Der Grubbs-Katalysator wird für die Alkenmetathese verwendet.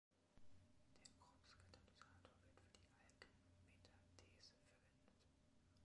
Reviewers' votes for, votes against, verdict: 0, 2, rejected